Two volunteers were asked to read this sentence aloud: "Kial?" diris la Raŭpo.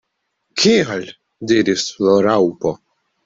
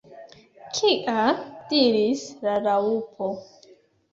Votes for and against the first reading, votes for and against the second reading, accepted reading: 2, 0, 2, 3, first